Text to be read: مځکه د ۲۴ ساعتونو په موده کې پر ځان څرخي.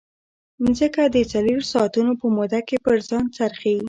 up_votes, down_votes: 0, 2